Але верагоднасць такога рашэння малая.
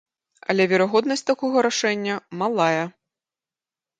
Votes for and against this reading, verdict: 2, 0, accepted